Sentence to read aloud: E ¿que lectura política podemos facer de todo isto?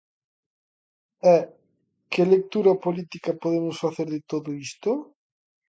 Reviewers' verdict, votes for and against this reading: accepted, 2, 0